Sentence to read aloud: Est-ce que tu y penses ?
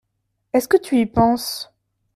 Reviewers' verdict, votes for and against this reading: accepted, 2, 0